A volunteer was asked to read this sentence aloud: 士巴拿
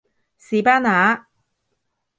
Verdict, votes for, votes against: accepted, 2, 0